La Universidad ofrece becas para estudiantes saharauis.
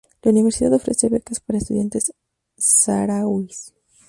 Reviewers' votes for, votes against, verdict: 0, 2, rejected